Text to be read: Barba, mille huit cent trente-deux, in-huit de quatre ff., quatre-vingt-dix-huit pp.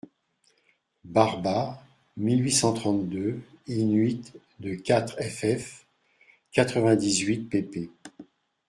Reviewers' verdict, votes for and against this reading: accepted, 2, 0